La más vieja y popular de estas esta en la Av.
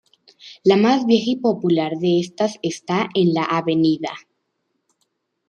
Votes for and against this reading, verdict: 2, 0, accepted